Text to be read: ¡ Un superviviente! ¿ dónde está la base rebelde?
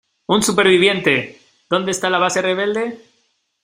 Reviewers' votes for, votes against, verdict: 2, 0, accepted